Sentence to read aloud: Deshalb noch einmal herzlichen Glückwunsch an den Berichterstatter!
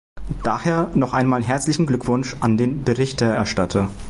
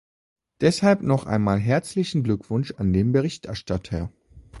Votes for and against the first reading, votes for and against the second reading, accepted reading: 0, 2, 3, 0, second